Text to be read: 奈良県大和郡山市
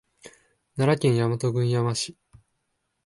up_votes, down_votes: 1, 2